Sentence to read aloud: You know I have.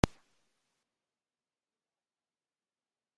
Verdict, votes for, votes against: rejected, 0, 2